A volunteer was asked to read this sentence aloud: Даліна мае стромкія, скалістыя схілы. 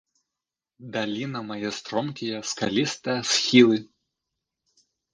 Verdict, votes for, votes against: accepted, 3, 2